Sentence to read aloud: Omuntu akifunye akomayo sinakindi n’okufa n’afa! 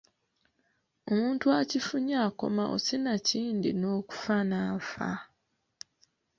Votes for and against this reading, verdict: 0, 2, rejected